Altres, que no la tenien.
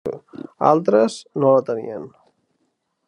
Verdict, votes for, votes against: rejected, 0, 2